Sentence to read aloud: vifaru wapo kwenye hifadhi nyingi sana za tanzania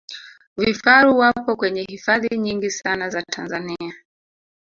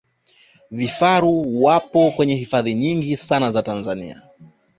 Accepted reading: second